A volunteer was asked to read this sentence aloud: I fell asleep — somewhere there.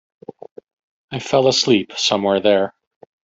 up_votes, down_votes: 1, 2